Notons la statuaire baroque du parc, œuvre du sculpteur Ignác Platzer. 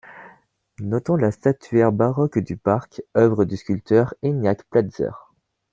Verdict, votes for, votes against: accepted, 2, 0